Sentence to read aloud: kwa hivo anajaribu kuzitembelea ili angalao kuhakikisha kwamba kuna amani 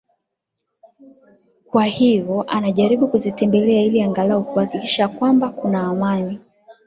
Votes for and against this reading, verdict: 2, 0, accepted